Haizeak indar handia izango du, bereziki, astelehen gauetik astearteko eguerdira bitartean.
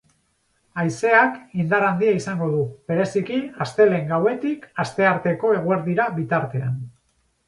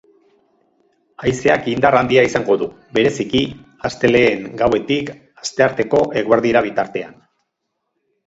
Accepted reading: first